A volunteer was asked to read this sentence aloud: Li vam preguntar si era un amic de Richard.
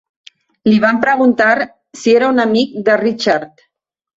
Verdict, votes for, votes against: accepted, 2, 0